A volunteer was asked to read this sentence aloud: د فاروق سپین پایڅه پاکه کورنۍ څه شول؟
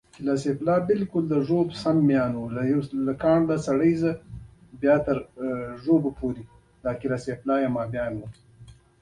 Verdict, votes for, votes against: accepted, 2, 0